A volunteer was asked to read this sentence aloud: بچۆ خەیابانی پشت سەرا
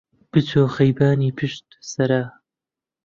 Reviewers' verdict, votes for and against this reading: rejected, 0, 2